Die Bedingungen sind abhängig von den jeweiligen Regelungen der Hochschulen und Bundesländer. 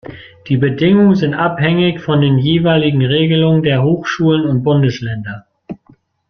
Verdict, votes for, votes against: accepted, 2, 0